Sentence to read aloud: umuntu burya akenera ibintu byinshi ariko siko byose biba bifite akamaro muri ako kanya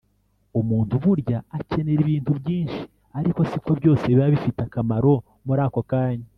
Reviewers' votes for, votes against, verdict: 0, 2, rejected